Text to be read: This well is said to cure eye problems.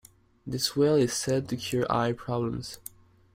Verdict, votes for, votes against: accepted, 2, 0